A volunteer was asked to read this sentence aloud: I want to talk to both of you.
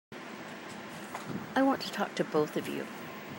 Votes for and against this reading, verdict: 2, 0, accepted